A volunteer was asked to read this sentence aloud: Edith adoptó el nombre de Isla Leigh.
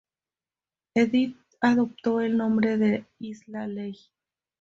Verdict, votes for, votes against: accepted, 2, 0